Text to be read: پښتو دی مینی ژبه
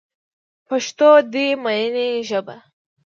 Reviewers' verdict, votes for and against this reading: rejected, 1, 2